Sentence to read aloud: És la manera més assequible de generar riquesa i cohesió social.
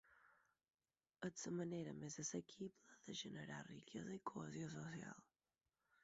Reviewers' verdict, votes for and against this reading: accepted, 4, 2